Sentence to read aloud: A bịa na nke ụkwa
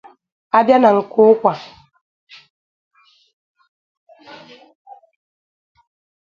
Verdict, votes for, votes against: accepted, 2, 0